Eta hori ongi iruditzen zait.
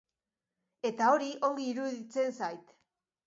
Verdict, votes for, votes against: accepted, 3, 1